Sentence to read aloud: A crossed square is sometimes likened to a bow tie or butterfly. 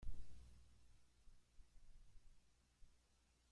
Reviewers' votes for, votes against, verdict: 0, 2, rejected